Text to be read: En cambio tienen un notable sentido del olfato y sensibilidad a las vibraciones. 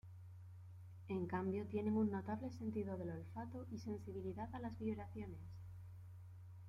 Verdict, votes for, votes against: accepted, 2, 0